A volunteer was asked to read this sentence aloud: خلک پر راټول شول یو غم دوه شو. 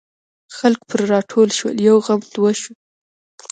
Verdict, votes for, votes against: accepted, 2, 0